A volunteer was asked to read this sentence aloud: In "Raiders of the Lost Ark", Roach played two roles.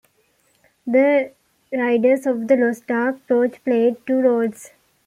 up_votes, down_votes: 2, 1